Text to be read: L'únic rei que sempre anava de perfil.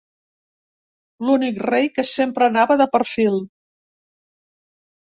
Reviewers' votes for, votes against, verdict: 3, 0, accepted